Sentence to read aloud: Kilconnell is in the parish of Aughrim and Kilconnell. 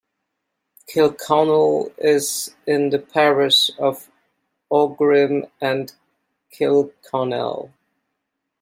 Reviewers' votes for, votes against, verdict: 2, 1, accepted